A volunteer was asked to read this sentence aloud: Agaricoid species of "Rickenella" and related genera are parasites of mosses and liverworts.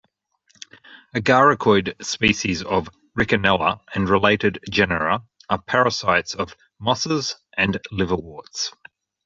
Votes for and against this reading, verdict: 2, 0, accepted